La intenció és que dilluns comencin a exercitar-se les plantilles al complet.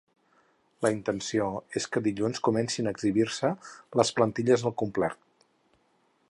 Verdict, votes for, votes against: rejected, 2, 4